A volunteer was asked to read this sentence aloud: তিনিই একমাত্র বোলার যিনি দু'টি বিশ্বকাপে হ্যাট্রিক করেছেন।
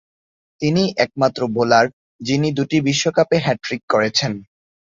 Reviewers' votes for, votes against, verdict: 7, 0, accepted